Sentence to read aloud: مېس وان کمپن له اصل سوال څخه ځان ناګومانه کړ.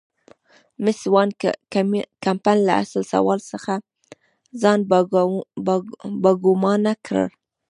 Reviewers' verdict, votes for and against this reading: rejected, 1, 2